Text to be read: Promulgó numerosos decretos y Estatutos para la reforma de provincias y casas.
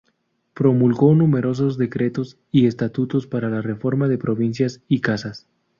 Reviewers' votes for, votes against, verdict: 0, 2, rejected